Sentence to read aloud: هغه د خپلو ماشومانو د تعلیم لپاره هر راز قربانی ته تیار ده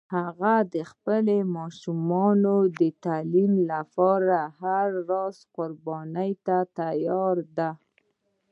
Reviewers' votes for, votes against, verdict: 0, 2, rejected